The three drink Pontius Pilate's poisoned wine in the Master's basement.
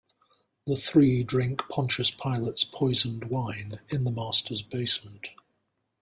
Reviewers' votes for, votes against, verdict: 2, 0, accepted